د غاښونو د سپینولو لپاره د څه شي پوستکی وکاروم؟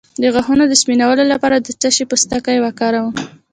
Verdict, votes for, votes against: accepted, 3, 1